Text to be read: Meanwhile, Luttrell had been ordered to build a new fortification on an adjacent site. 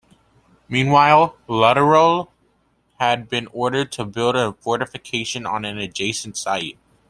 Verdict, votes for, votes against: rejected, 0, 2